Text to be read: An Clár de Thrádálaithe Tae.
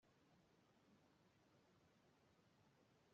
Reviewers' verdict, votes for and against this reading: rejected, 0, 2